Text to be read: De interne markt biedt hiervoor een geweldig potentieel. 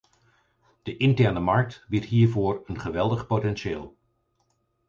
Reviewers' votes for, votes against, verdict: 4, 0, accepted